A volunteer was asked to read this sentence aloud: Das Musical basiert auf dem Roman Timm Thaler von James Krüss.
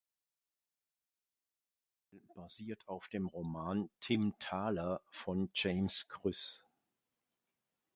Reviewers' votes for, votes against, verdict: 0, 2, rejected